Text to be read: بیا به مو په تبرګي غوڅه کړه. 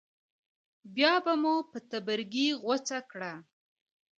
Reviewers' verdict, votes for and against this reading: accepted, 2, 0